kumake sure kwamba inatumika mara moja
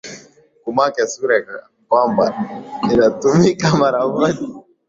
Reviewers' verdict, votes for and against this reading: accepted, 2, 0